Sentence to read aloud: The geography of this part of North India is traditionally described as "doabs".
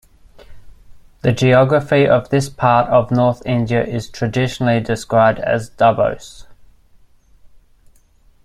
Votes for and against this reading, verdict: 0, 2, rejected